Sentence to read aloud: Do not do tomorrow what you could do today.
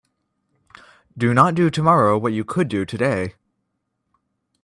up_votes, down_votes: 3, 0